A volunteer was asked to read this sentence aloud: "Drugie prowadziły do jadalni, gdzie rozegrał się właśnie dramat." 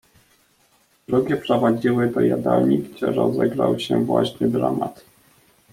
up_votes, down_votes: 1, 2